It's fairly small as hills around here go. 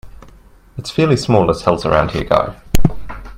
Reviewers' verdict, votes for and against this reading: rejected, 1, 2